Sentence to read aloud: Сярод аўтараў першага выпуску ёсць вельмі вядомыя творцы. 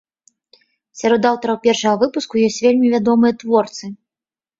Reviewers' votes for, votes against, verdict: 2, 0, accepted